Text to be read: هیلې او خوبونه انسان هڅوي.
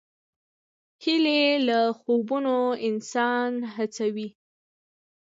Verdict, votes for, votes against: rejected, 1, 2